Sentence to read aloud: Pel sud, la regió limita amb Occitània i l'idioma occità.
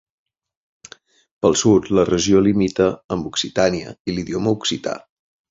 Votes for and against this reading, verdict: 0, 2, rejected